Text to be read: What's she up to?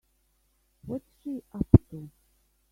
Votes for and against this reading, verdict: 1, 3, rejected